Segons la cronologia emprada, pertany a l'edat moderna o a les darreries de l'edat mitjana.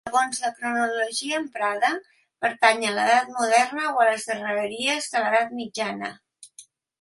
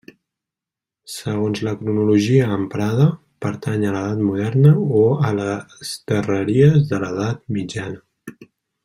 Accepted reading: second